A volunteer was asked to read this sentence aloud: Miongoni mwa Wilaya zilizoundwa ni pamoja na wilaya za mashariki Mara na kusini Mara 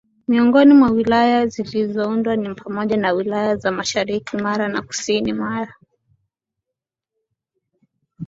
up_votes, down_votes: 2, 1